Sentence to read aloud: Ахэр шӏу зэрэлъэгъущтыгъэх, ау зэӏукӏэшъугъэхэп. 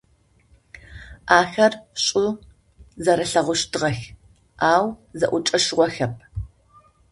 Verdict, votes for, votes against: rejected, 0, 2